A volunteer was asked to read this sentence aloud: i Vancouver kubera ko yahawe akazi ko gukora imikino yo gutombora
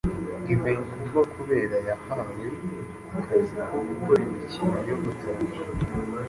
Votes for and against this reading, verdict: 1, 2, rejected